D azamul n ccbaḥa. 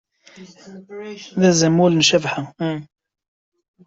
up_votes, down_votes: 0, 2